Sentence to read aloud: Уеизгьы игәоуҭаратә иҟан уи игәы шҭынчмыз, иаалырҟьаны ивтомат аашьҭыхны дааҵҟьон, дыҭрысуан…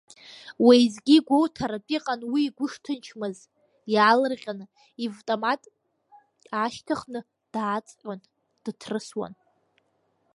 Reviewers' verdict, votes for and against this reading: accepted, 2, 0